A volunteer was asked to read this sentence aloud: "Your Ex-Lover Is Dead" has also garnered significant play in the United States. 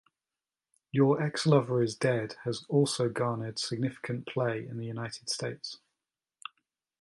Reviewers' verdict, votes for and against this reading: accepted, 2, 0